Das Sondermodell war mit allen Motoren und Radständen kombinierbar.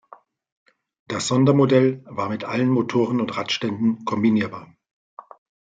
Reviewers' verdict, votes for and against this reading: accepted, 2, 0